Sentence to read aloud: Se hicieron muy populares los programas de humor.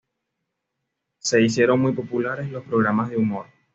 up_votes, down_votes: 2, 0